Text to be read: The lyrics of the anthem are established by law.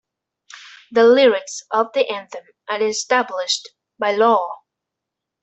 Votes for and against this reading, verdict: 2, 0, accepted